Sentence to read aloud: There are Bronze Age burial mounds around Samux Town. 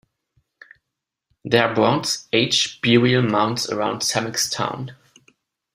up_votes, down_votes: 1, 2